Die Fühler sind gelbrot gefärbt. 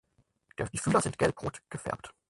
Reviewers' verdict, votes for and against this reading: rejected, 0, 4